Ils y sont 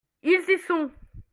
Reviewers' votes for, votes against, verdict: 2, 0, accepted